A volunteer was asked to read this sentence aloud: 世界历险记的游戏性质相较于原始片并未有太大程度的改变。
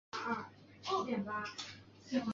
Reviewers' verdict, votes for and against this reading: rejected, 1, 2